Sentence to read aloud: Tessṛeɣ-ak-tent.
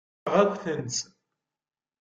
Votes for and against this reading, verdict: 0, 2, rejected